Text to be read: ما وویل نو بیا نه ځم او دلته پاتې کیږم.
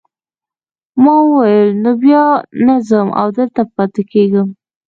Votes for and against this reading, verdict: 2, 1, accepted